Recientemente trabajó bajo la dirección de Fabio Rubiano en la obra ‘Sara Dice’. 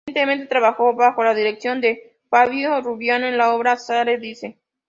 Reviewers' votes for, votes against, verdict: 0, 2, rejected